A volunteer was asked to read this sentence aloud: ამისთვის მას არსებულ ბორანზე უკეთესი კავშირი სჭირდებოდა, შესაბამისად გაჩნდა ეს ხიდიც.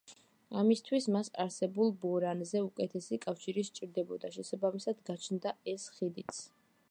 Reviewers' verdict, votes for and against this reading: accepted, 2, 0